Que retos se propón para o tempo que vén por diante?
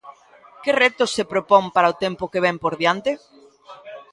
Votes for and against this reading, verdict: 2, 0, accepted